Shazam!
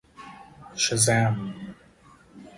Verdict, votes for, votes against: rejected, 2, 2